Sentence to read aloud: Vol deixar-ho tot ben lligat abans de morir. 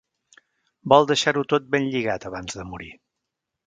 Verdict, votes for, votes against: accepted, 2, 0